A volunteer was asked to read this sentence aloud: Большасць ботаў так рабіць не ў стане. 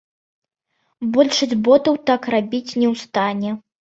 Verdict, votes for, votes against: accepted, 2, 0